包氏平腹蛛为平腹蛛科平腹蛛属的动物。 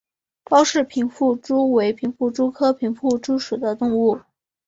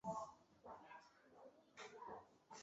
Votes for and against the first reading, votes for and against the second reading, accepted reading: 3, 0, 1, 3, first